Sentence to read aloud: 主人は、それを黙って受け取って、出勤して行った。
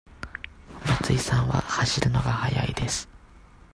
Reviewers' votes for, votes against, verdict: 0, 2, rejected